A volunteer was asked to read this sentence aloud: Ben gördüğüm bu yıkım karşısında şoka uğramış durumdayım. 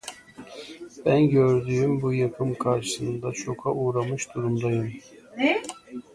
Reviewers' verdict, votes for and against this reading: rejected, 0, 2